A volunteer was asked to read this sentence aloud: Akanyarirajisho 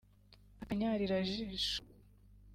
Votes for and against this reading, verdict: 2, 1, accepted